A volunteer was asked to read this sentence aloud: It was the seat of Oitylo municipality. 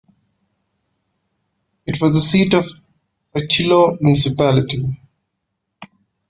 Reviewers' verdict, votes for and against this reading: accepted, 2, 1